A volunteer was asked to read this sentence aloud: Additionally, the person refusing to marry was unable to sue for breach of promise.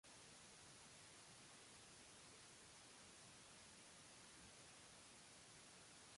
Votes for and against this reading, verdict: 0, 2, rejected